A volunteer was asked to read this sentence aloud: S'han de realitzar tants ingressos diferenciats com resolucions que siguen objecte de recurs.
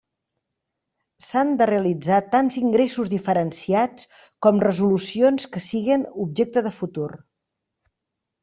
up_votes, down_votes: 0, 2